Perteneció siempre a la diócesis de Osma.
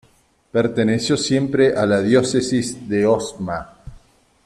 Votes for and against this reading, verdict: 2, 0, accepted